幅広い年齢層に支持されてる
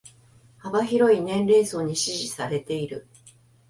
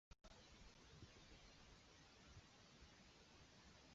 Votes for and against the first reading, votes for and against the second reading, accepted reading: 2, 1, 1, 2, first